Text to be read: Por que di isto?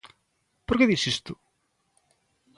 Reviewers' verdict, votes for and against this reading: rejected, 0, 2